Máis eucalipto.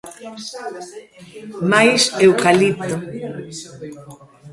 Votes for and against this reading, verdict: 0, 2, rejected